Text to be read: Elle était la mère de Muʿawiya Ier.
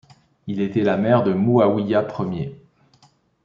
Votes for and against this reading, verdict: 0, 2, rejected